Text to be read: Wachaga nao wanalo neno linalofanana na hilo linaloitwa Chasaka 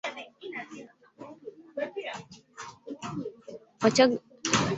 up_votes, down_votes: 0, 2